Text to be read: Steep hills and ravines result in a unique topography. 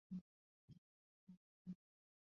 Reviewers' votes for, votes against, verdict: 0, 2, rejected